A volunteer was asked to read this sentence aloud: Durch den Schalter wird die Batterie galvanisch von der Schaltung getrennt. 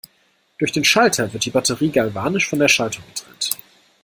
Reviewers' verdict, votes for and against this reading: accepted, 2, 0